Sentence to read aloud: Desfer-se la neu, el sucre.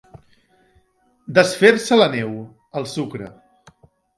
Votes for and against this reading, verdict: 3, 0, accepted